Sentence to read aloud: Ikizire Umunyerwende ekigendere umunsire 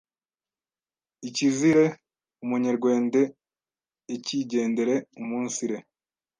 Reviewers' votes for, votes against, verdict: 1, 2, rejected